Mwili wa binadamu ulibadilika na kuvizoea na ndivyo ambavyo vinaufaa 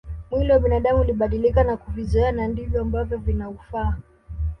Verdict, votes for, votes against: accepted, 2, 1